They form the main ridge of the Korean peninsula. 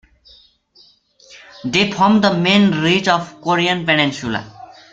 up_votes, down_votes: 0, 2